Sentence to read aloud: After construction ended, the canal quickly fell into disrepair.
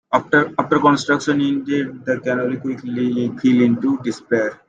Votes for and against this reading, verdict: 0, 2, rejected